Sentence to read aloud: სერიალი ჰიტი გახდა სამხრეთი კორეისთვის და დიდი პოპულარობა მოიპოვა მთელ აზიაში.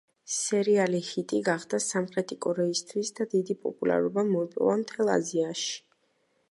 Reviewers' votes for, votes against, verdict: 2, 0, accepted